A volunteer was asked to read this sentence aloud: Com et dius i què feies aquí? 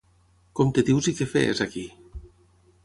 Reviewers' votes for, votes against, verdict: 3, 3, rejected